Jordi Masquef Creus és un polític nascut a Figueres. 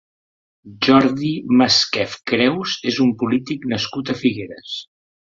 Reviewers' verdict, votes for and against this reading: accepted, 3, 0